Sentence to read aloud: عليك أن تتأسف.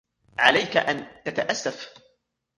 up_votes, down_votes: 2, 1